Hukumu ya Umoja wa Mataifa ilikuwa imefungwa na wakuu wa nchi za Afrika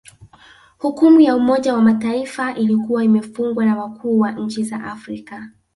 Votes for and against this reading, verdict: 2, 0, accepted